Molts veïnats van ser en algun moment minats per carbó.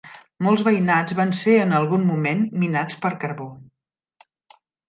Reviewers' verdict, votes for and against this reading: accepted, 3, 0